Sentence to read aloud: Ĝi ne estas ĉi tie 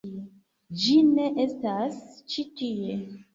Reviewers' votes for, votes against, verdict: 2, 0, accepted